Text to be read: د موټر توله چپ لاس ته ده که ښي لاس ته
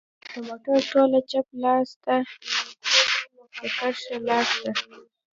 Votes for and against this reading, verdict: 0, 2, rejected